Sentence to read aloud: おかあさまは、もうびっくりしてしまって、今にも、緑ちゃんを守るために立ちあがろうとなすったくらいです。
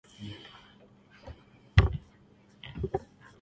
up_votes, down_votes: 1, 5